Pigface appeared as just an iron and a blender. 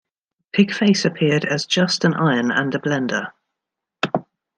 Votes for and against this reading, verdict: 1, 2, rejected